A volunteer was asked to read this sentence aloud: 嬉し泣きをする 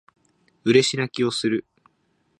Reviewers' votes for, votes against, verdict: 2, 0, accepted